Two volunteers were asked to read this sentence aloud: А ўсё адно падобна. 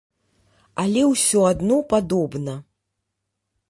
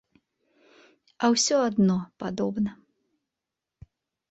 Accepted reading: second